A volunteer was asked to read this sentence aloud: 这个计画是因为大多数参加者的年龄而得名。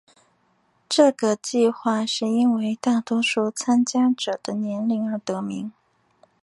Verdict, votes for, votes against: accepted, 2, 0